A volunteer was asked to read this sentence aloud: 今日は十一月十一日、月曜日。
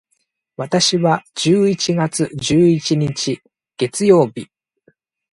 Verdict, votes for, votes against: rejected, 1, 2